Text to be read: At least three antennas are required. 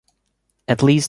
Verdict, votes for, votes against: rejected, 1, 2